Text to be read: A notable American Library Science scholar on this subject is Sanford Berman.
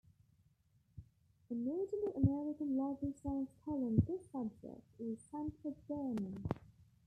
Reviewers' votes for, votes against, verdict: 0, 2, rejected